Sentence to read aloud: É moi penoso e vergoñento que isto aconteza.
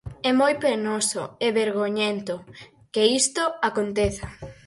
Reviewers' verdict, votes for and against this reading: accepted, 4, 0